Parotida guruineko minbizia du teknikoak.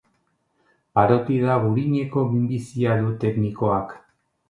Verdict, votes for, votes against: rejected, 0, 2